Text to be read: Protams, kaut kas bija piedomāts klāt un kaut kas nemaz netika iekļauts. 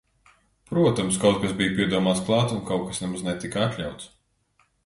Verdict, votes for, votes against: rejected, 1, 2